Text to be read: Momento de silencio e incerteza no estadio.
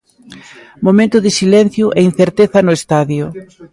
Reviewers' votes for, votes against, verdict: 2, 1, accepted